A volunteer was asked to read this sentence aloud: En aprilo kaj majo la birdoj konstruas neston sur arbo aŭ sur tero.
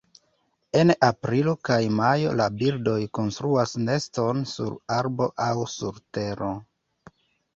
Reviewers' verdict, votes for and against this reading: accepted, 2, 1